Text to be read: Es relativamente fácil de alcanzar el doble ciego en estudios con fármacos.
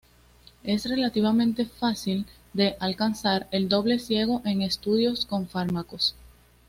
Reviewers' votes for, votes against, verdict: 2, 0, accepted